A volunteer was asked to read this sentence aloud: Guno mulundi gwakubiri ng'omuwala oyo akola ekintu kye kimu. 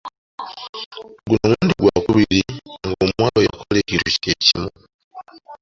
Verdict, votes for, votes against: accepted, 2, 1